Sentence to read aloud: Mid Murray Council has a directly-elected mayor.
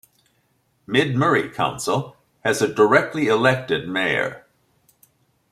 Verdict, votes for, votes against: accepted, 2, 0